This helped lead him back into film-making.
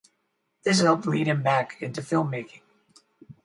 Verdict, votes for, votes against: rejected, 0, 2